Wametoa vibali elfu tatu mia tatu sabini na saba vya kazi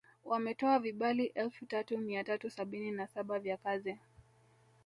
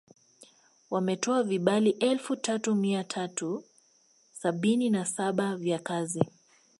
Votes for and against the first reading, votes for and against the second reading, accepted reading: 1, 2, 2, 0, second